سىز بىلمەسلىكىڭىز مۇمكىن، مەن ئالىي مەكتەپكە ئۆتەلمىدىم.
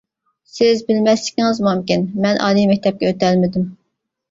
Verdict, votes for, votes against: accepted, 2, 0